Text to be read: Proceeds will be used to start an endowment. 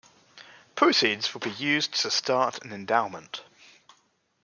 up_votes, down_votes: 1, 2